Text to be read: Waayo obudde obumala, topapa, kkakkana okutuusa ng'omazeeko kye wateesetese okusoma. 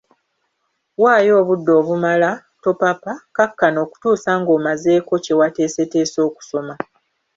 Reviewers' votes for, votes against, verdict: 3, 0, accepted